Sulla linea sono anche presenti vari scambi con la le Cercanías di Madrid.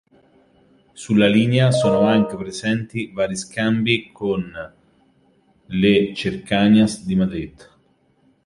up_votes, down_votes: 0, 2